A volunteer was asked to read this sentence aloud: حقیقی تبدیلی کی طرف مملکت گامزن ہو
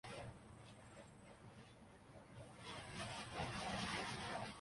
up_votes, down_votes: 0, 2